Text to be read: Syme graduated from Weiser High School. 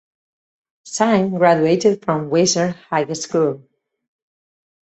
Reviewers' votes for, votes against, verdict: 2, 2, rejected